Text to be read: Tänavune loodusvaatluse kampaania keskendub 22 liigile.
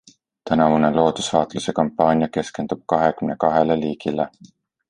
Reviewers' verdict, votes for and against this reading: rejected, 0, 2